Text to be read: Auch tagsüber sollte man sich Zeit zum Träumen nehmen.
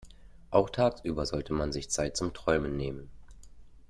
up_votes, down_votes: 2, 0